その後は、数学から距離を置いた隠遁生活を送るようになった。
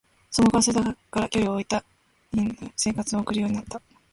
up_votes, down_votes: 0, 2